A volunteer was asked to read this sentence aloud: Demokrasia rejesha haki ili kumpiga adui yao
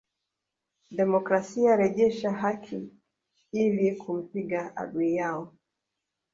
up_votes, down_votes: 0, 2